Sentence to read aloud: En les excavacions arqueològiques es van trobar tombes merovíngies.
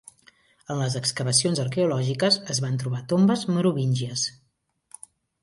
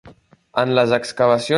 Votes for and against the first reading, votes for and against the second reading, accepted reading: 2, 0, 0, 2, first